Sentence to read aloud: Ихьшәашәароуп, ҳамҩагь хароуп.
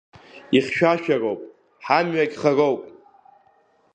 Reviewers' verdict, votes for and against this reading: accepted, 2, 0